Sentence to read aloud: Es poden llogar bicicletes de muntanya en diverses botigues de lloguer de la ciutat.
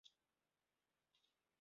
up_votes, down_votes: 0, 2